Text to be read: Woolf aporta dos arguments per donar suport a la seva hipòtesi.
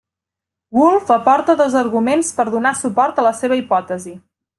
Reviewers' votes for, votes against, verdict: 2, 0, accepted